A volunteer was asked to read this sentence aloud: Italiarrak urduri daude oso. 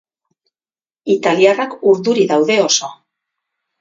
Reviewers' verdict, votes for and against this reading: rejected, 0, 2